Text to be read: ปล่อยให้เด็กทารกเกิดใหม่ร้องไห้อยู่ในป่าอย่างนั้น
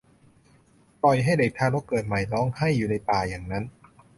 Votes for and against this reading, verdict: 3, 0, accepted